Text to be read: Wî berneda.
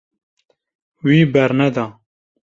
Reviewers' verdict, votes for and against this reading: accepted, 2, 0